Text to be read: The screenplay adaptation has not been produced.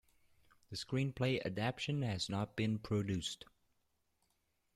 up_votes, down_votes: 2, 1